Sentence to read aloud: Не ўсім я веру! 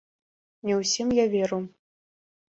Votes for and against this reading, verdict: 2, 0, accepted